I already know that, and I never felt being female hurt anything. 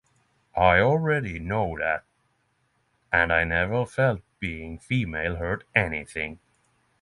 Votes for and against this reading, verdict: 3, 0, accepted